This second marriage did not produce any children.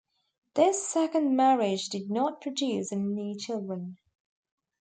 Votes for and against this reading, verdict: 2, 1, accepted